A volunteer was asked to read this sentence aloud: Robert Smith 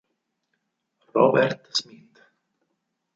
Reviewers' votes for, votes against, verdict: 6, 0, accepted